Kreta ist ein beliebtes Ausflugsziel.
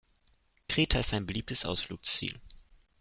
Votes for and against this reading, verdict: 2, 0, accepted